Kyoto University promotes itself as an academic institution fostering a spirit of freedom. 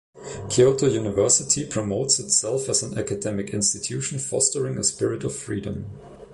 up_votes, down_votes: 2, 0